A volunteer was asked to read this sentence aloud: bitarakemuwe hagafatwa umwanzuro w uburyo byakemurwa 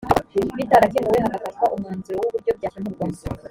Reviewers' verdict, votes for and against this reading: accepted, 2, 0